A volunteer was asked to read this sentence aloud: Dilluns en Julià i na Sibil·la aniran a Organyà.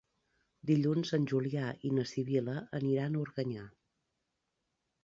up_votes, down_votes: 2, 0